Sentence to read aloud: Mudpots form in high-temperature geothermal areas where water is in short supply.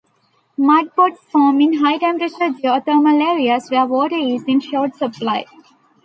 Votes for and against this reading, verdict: 2, 0, accepted